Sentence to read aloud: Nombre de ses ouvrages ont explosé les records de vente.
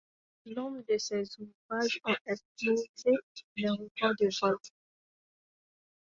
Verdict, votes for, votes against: rejected, 1, 2